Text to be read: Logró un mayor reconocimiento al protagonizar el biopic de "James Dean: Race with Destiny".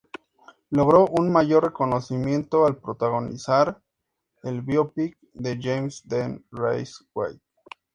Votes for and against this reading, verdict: 0, 2, rejected